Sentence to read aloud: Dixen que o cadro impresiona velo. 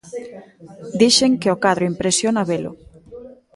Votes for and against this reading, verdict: 2, 0, accepted